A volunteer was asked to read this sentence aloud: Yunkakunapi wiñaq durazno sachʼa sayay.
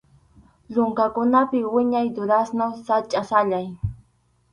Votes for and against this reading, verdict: 0, 4, rejected